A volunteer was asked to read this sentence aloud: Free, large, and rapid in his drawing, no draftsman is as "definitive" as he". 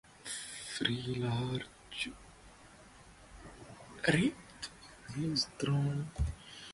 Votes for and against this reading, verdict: 0, 4, rejected